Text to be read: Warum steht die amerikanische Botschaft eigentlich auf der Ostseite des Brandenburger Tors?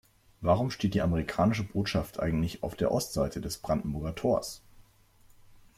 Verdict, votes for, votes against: accepted, 2, 0